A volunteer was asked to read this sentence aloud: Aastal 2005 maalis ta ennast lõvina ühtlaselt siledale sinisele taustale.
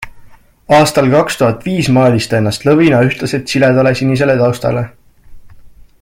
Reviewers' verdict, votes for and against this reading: rejected, 0, 2